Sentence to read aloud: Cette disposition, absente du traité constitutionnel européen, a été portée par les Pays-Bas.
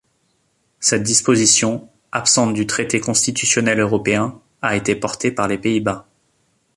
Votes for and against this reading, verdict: 2, 0, accepted